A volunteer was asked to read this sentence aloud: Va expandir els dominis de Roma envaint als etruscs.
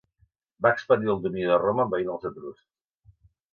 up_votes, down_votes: 1, 2